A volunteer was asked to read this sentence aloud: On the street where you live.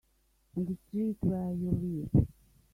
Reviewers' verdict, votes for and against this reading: accepted, 2, 1